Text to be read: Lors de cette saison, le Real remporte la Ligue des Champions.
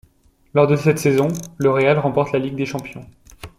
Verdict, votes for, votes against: accepted, 2, 0